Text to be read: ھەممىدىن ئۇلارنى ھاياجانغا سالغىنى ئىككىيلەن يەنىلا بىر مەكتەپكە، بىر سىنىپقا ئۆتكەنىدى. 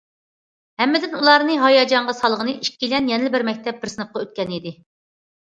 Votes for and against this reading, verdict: 0, 2, rejected